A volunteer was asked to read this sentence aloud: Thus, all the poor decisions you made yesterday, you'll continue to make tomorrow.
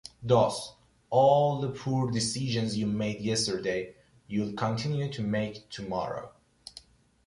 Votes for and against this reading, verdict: 2, 0, accepted